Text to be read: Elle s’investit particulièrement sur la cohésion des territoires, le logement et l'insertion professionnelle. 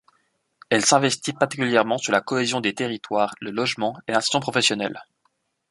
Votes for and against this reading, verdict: 0, 2, rejected